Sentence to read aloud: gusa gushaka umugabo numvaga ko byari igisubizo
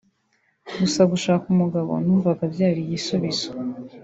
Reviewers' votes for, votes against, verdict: 2, 3, rejected